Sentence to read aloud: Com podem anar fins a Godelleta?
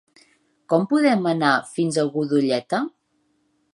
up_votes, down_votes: 2, 1